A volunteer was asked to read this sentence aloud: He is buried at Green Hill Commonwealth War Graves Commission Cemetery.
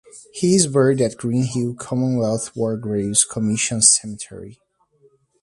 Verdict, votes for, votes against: accepted, 2, 0